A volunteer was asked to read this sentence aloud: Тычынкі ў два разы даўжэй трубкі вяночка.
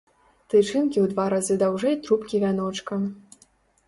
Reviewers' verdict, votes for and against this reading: accepted, 2, 0